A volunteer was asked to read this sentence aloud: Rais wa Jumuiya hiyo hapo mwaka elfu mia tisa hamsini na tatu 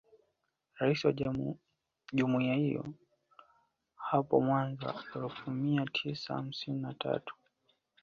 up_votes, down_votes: 0, 2